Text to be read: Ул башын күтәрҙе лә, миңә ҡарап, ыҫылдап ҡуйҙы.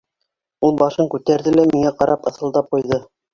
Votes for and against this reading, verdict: 2, 1, accepted